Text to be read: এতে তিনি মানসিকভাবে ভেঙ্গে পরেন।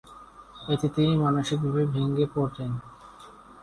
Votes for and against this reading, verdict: 1, 2, rejected